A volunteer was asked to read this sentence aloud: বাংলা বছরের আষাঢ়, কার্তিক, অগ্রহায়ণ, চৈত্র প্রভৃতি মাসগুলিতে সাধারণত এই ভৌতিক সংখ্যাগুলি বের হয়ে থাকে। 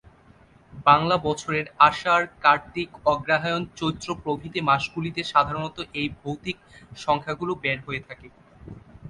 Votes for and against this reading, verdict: 2, 3, rejected